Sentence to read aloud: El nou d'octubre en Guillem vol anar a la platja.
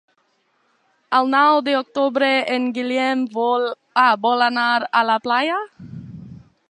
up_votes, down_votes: 0, 2